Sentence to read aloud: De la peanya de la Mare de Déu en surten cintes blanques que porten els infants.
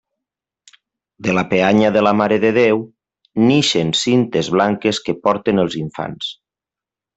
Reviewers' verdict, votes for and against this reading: rejected, 0, 2